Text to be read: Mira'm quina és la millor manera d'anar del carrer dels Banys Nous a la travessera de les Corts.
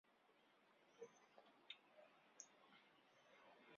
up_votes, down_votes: 0, 2